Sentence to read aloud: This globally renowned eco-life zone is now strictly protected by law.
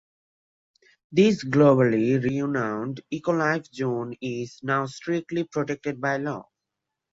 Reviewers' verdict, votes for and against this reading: rejected, 1, 2